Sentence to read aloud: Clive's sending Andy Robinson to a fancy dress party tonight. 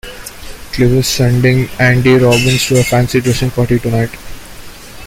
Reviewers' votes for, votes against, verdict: 1, 2, rejected